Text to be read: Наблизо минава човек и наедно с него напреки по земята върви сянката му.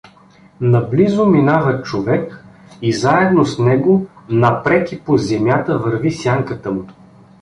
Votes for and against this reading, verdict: 1, 2, rejected